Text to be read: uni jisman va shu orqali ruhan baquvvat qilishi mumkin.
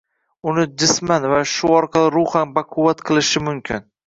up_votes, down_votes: 2, 1